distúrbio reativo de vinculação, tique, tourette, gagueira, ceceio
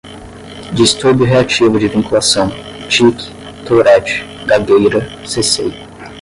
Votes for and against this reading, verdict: 5, 5, rejected